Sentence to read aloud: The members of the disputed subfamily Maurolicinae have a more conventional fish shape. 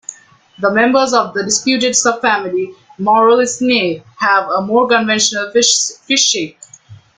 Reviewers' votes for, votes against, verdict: 0, 2, rejected